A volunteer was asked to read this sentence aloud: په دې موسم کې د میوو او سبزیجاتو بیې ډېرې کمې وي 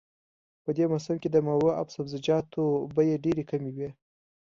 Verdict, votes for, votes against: accepted, 2, 0